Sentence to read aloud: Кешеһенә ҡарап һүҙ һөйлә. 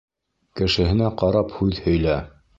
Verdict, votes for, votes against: accepted, 3, 0